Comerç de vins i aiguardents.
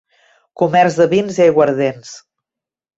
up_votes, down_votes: 2, 0